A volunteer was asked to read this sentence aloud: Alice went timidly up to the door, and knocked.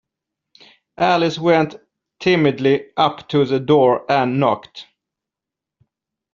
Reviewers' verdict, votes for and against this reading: accepted, 2, 0